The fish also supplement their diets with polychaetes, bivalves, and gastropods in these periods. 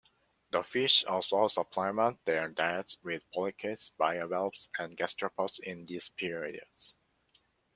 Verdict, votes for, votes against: accepted, 2, 1